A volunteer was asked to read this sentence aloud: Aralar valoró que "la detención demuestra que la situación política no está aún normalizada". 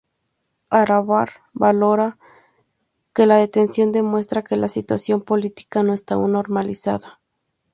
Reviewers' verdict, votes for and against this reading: rejected, 0, 2